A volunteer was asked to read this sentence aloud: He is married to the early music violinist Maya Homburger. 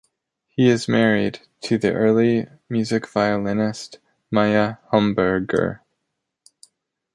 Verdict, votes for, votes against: accepted, 2, 0